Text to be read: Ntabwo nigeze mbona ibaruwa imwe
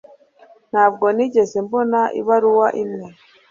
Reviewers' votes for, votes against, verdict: 2, 0, accepted